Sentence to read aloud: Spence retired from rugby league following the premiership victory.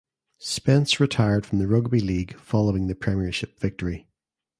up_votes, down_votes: 2, 0